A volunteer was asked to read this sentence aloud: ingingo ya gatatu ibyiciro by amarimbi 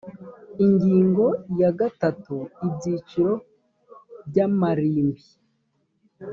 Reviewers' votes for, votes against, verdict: 2, 0, accepted